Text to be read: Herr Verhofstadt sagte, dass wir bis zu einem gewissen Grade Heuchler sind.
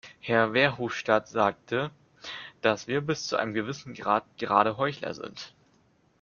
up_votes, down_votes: 1, 2